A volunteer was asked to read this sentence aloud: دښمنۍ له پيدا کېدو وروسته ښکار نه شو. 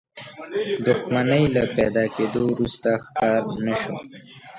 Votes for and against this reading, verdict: 1, 2, rejected